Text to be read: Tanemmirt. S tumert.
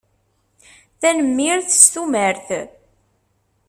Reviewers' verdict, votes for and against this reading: accepted, 2, 0